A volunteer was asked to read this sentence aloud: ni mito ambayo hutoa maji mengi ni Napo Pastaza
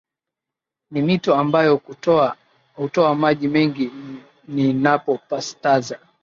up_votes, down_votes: 1, 2